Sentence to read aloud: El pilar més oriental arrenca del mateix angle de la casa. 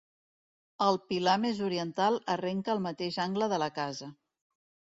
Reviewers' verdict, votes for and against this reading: rejected, 1, 2